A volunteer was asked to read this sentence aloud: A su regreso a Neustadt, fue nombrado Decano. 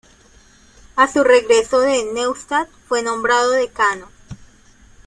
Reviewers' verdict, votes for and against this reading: rejected, 0, 2